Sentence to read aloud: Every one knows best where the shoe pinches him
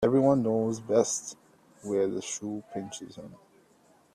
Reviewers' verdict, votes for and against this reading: accepted, 2, 0